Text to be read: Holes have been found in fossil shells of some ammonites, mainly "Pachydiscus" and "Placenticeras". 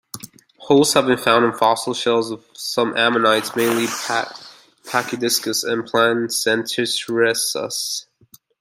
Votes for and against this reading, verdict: 0, 2, rejected